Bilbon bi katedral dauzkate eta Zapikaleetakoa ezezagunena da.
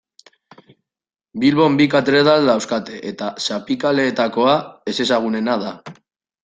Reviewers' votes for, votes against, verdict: 2, 1, accepted